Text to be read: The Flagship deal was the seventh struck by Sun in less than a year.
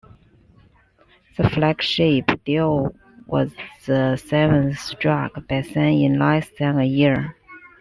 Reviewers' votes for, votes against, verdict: 2, 1, accepted